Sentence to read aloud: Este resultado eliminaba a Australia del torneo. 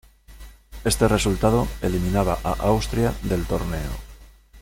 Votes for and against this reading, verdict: 0, 2, rejected